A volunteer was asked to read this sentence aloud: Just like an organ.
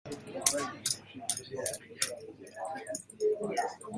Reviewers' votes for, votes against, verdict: 0, 2, rejected